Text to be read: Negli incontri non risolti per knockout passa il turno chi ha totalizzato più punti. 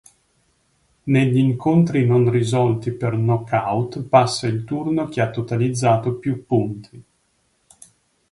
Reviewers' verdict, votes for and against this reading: accepted, 3, 0